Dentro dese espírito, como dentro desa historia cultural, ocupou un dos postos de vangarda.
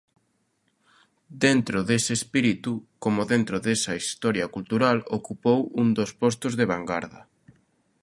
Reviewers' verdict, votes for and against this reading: rejected, 0, 2